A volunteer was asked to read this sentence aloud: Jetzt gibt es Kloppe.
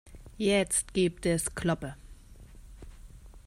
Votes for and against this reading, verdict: 2, 0, accepted